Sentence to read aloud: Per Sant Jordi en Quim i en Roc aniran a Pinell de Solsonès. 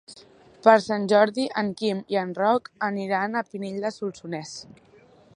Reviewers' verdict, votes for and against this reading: accepted, 3, 0